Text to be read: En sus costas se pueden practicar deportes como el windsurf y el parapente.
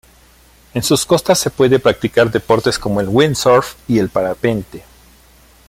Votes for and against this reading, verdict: 1, 2, rejected